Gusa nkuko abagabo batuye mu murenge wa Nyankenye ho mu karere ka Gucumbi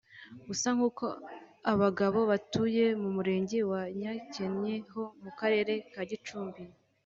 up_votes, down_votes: 2, 0